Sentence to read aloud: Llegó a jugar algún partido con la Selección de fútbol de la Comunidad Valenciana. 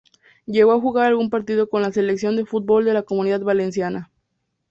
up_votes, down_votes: 2, 0